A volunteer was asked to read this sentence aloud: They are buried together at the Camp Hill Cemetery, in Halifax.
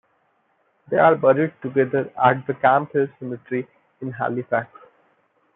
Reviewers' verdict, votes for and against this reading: accepted, 2, 0